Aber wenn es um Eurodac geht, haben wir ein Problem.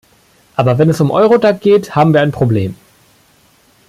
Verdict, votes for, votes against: accepted, 2, 0